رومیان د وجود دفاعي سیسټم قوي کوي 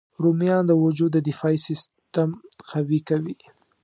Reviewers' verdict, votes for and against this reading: accepted, 2, 0